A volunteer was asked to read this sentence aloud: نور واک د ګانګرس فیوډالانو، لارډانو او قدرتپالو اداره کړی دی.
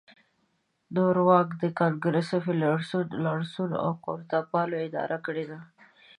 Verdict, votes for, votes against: accepted, 2, 0